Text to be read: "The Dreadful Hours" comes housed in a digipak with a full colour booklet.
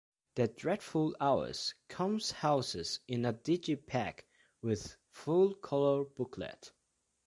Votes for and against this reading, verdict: 1, 2, rejected